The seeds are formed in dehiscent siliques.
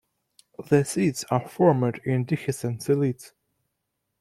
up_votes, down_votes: 1, 2